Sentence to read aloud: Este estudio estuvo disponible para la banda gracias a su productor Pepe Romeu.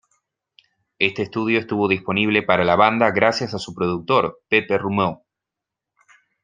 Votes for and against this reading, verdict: 0, 2, rejected